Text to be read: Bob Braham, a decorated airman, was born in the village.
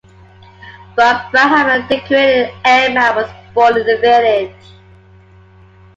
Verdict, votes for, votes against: accepted, 2, 1